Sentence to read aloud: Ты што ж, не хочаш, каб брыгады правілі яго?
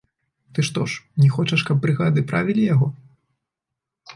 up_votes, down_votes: 2, 0